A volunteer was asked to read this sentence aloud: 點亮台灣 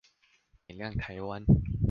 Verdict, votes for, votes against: accepted, 2, 1